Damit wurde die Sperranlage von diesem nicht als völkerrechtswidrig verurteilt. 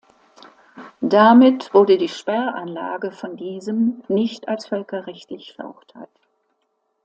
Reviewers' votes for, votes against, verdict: 1, 2, rejected